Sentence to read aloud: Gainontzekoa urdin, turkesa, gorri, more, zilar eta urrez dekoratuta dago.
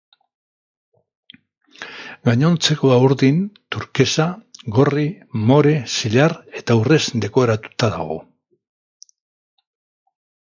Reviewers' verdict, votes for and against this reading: accepted, 2, 0